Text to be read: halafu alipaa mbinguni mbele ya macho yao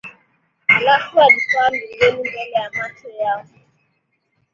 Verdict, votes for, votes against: accepted, 8, 2